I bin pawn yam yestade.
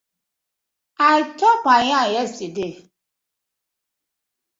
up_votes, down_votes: 0, 2